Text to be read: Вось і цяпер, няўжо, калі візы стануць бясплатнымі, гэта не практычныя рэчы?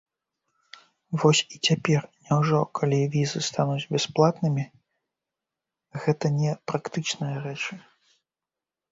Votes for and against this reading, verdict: 2, 0, accepted